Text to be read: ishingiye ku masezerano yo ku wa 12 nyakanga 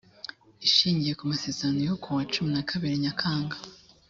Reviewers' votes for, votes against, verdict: 0, 2, rejected